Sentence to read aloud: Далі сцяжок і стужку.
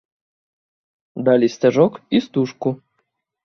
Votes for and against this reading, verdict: 2, 0, accepted